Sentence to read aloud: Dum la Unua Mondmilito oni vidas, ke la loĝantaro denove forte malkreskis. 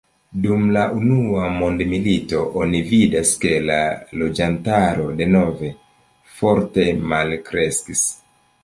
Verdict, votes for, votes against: accepted, 2, 1